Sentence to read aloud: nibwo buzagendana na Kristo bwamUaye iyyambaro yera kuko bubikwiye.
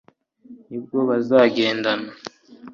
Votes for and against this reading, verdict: 0, 2, rejected